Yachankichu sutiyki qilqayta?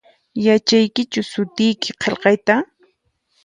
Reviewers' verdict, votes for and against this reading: rejected, 0, 4